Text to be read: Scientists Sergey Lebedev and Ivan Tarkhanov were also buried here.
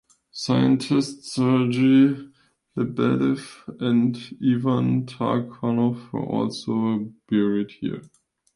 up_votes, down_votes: 3, 1